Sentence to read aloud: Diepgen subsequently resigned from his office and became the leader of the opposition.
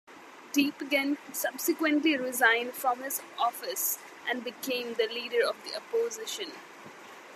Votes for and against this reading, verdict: 2, 0, accepted